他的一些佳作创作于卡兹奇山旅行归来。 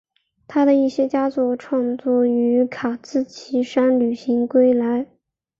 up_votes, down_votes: 2, 0